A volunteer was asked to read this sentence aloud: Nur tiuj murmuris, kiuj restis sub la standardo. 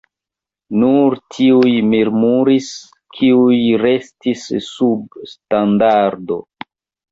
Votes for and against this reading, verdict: 0, 2, rejected